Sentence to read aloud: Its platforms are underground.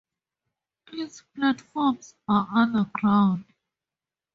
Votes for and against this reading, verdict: 0, 2, rejected